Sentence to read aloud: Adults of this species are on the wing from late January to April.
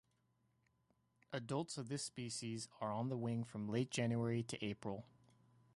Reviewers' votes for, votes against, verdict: 2, 0, accepted